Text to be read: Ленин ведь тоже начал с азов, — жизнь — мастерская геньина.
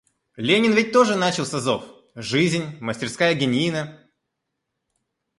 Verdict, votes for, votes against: accepted, 2, 0